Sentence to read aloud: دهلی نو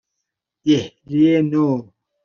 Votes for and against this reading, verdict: 2, 0, accepted